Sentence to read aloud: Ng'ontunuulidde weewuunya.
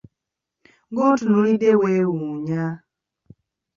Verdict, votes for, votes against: rejected, 0, 2